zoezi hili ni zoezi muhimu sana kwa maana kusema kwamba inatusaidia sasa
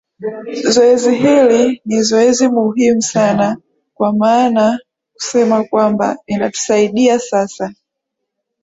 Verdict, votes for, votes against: accepted, 3, 0